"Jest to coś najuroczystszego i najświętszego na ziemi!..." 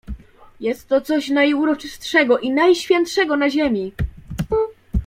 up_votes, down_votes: 2, 0